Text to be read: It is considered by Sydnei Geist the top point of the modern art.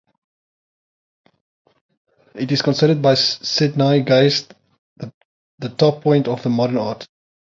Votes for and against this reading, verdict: 3, 0, accepted